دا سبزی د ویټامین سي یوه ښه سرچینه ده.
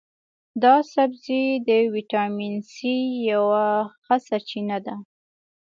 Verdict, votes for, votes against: accepted, 2, 0